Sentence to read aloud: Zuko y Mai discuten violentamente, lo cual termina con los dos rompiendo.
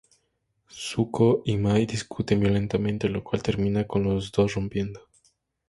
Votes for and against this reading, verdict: 2, 0, accepted